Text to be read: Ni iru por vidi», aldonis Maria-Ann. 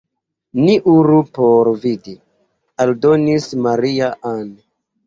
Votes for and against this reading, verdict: 1, 2, rejected